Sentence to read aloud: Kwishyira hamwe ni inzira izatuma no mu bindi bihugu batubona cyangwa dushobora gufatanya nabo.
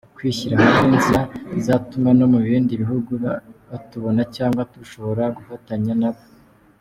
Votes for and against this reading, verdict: 2, 1, accepted